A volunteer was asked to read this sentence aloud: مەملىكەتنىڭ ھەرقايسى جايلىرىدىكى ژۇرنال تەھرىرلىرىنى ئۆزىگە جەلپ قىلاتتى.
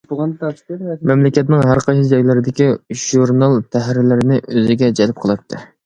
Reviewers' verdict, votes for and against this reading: accepted, 2, 1